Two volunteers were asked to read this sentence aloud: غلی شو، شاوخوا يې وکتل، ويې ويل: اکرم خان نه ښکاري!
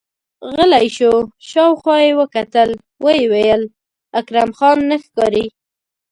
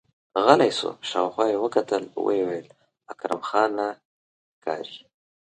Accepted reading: first